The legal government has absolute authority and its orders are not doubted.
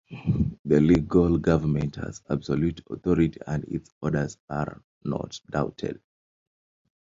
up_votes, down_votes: 3, 1